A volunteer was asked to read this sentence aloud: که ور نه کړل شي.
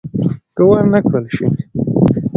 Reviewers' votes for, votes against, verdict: 1, 2, rejected